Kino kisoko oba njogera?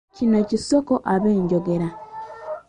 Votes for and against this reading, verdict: 0, 2, rejected